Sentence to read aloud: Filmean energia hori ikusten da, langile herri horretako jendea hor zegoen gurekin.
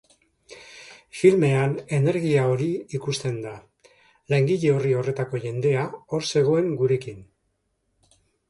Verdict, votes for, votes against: rejected, 1, 3